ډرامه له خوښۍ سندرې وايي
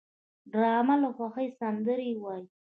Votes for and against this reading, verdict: 1, 2, rejected